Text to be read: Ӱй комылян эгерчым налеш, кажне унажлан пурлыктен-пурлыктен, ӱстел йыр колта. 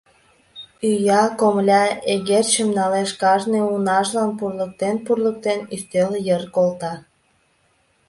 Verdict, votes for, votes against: rejected, 1, 2